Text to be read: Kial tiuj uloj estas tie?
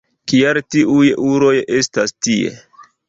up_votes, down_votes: 1, 2